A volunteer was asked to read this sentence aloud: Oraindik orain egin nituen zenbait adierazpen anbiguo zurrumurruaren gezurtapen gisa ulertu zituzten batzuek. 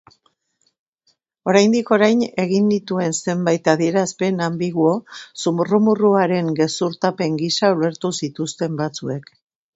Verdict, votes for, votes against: rejected, 0, 2